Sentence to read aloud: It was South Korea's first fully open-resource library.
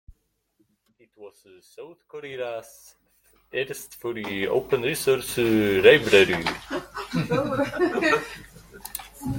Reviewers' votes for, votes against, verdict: 1, 2, rejected